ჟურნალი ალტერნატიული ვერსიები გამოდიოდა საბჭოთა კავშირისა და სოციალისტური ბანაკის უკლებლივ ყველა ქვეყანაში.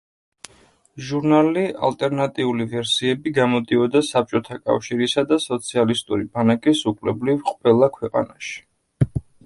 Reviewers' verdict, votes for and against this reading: accepted, 2, 0